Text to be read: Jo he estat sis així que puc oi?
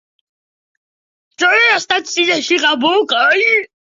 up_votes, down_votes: 1, 2